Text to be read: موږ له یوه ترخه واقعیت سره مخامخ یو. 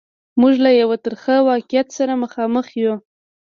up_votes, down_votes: 2, 1